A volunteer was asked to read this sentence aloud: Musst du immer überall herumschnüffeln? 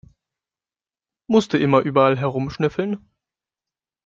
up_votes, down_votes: 2, 0